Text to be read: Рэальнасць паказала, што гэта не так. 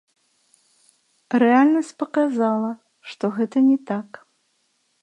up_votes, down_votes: 3, 0